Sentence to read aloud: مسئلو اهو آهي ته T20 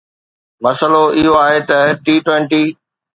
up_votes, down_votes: 0, 2